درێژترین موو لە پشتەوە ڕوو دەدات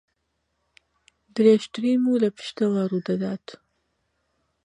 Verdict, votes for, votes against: accepted, 2, 0